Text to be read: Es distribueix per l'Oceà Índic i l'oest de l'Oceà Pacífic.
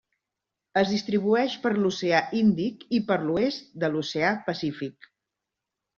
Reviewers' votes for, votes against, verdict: 1, 2, rejected